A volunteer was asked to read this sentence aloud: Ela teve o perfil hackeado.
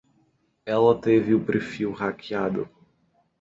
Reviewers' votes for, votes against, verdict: 2, 0, accepted